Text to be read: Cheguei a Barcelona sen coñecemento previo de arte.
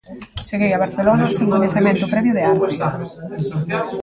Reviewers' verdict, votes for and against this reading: rejected, 1, 2